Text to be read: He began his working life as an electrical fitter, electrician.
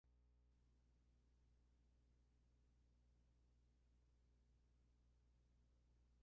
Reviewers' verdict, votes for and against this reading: rejected, 0, 2